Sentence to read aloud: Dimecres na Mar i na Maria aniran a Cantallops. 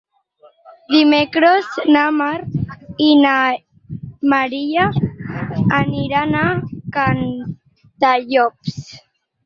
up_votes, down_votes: 2, 4